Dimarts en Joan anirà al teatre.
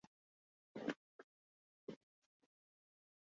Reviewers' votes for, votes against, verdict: 0, 3, rejected